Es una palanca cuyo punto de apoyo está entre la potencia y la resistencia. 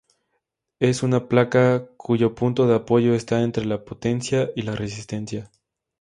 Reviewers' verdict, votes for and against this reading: rejected, 0, 2